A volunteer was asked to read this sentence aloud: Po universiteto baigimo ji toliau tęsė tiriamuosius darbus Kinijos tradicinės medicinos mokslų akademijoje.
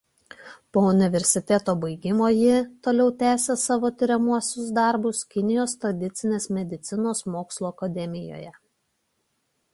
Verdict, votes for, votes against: rejected, 1, 2